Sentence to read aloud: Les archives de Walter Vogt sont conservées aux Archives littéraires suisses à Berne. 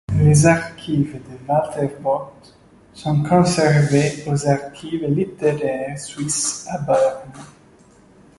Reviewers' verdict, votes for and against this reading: rejected, 0, 2